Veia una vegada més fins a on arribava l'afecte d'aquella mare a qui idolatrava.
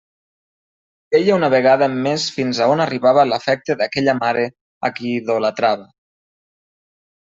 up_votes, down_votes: 2, 0